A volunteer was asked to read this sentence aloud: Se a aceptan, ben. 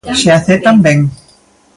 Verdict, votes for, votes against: accepted, 3, 0